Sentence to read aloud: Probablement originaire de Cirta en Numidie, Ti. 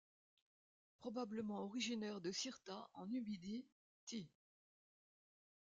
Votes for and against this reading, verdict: 2, 0, accepted